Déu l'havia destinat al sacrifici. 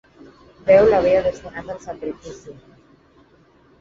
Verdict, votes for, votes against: rejected, 2, 4